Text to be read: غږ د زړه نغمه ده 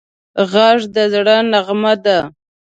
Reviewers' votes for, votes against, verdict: 2, 0, accepted